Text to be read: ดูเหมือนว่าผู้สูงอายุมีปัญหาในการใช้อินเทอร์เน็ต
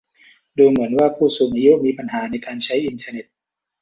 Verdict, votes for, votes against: accepted, 2, 0